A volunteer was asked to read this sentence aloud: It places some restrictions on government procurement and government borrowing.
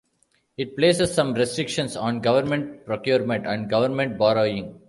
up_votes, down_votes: 2, 1